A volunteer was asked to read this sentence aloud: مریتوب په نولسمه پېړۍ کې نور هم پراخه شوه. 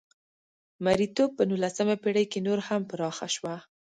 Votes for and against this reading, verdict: 2, 0, accepted